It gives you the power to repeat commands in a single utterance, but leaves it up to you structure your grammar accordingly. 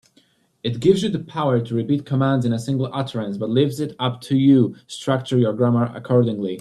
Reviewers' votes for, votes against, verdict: 2, 1, accepted